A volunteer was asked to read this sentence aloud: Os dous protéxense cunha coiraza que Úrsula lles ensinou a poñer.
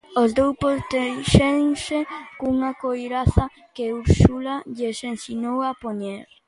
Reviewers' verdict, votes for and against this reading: rejected, 0, 2